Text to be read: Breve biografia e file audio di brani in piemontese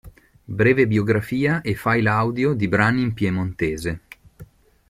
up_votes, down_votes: 2, 0